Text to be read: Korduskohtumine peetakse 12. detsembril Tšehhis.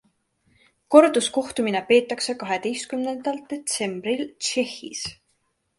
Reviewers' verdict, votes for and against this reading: rejected, 0, 2